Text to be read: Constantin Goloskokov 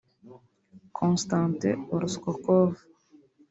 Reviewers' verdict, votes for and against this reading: rejected, 0, 2